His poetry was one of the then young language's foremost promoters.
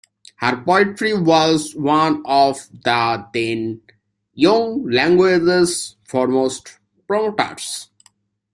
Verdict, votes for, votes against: rejected, 1, 2